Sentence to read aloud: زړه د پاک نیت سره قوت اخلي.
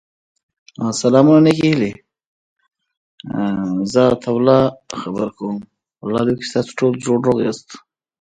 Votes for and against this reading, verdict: 0, 2, rejected